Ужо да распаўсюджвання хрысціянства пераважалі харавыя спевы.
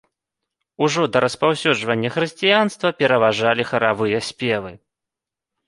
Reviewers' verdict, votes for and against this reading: accepted, 2, 0